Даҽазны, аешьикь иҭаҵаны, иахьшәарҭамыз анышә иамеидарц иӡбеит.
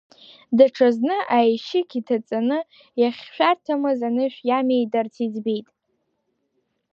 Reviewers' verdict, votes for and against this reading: rejected, 0, 2